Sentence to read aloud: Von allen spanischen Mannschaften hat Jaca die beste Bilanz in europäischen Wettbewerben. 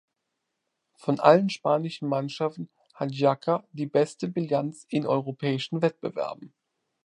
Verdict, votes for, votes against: rejected, 1, 2